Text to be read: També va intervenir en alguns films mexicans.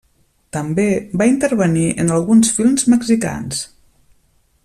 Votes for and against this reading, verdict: 2, 0, accepted